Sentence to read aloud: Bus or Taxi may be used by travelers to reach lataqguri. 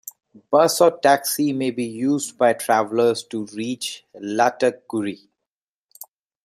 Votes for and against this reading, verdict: 2, 0, accepted